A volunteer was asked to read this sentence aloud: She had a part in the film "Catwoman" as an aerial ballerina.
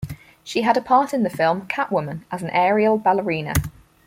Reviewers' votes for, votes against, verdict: 4, 0, accepted